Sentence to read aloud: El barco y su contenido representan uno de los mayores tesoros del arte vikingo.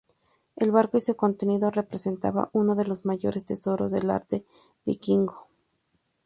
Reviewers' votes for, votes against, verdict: 2, 0, accepted